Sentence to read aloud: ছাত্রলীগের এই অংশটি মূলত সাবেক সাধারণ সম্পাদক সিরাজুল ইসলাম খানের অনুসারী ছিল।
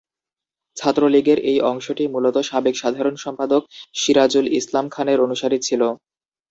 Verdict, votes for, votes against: accepted, 2, 0